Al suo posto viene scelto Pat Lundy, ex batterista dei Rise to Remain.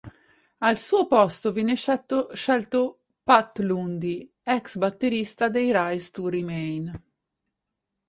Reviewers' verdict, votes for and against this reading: rejected, 2, 4